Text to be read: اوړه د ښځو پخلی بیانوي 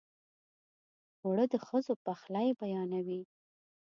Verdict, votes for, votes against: accepted, 2, 0